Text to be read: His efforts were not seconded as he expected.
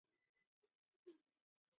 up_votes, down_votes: 0, 2